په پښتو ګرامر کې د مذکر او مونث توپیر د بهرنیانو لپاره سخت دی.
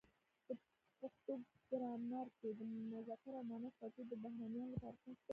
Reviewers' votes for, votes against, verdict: 2, 0, accepted